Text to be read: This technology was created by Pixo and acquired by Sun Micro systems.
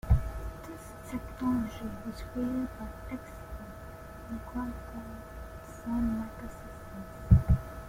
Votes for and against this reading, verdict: 0, 3, rejected